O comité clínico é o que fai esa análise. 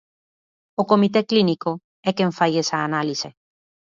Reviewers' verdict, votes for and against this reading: rejected, 0, 2